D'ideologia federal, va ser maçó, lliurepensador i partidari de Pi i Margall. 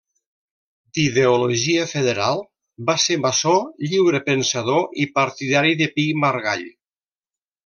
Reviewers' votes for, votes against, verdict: 2, 0, accepted